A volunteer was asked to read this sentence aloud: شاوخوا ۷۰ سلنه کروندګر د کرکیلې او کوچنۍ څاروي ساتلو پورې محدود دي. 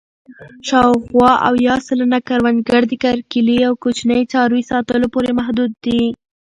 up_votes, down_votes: 0, 2